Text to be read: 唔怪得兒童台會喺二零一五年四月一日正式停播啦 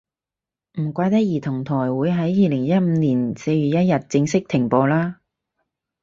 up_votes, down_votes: 4, 0